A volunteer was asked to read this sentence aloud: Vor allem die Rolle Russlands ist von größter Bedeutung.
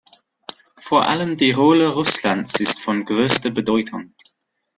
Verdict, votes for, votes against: accepted, 2, 0